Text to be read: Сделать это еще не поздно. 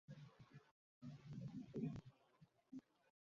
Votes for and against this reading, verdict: 0, 2, rejected